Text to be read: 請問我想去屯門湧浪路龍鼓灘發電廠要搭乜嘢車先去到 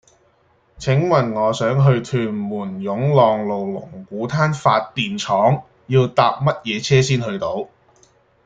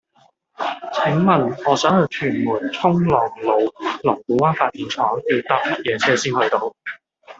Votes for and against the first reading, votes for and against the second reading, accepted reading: 2, 0, 0, 2, first